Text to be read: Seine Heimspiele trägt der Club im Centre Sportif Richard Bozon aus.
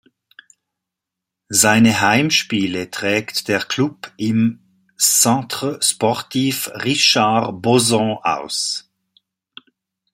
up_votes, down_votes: 2, 0